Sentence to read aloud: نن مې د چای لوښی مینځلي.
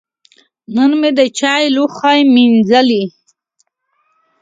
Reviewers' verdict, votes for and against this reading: accepted, 2, 0